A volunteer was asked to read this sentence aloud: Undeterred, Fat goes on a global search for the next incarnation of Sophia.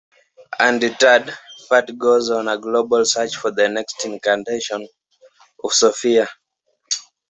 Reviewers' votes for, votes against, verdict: 2, 0, accepted